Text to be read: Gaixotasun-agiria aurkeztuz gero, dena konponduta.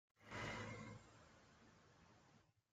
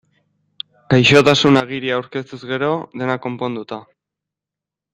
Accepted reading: second